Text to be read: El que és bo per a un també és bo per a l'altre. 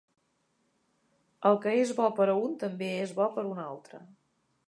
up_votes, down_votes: 0, 2